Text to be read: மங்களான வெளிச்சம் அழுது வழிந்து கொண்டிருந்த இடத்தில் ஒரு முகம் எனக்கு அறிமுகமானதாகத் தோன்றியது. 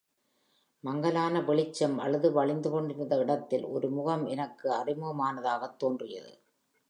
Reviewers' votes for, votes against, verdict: 1, 2, rejected